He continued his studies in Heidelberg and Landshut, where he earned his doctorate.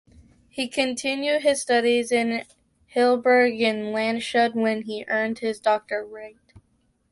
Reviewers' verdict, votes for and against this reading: accepted, 2, 1